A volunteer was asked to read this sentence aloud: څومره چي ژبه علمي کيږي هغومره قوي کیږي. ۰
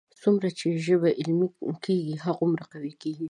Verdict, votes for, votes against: rejected, 0, 2